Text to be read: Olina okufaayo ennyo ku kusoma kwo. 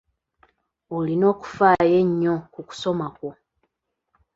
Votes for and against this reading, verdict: 2, 1, accepted